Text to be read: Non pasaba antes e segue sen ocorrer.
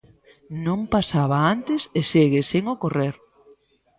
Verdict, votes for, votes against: accepted, 2, 0